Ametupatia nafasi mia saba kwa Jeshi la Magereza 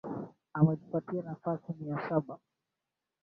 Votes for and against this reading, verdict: 0, 2, rejected